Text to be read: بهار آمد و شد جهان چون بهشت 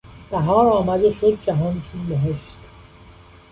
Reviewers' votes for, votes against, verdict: 0, 2, rejected